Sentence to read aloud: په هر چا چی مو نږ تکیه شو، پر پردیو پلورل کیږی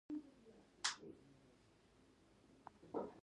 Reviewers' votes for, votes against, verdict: 0, 2, rejected